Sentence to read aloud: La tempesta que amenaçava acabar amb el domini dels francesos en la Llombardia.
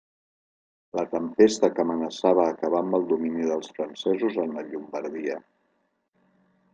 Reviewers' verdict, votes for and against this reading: accepted, 2, 0